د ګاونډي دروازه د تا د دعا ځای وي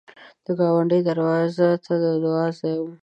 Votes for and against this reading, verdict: 1, 2, rejected